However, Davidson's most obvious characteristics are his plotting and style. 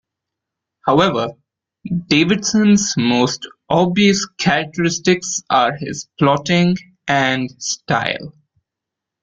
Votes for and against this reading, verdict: 2, 0, accepted